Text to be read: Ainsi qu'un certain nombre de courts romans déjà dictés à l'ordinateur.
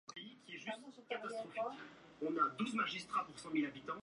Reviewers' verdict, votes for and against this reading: rejected, 0, 2